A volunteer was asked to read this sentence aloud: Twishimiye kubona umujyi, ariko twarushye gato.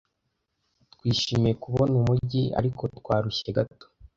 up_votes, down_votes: 2, 0